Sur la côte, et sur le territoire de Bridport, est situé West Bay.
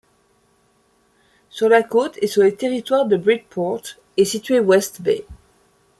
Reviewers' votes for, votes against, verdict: 2, 0, accepted